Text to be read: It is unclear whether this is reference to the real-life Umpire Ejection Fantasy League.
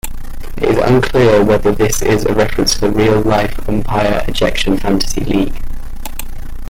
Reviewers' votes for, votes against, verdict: 0, 2, rejected